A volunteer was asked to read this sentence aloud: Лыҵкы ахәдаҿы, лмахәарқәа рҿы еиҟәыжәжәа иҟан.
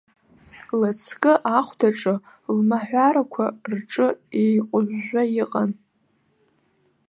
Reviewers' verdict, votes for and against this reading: rejected, 0, 2